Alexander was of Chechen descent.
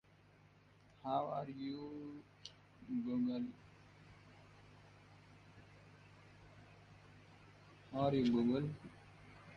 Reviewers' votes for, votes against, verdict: 0, 4, rejected